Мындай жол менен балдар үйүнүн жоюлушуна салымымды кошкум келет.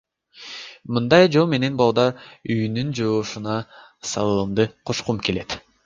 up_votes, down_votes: 1, 2